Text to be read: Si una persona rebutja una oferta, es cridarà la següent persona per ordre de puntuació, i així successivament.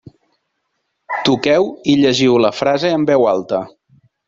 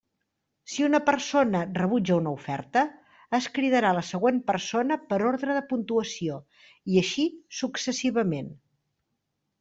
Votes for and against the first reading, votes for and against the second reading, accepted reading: 0, 2, 3, 0, second